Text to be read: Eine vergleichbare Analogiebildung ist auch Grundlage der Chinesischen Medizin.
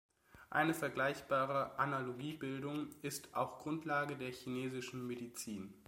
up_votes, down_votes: 2, 0